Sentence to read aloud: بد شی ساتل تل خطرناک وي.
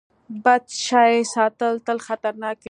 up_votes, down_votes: 2, 0